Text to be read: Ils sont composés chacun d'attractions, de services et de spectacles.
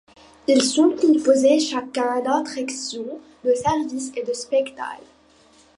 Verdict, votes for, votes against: accepted, 2, 0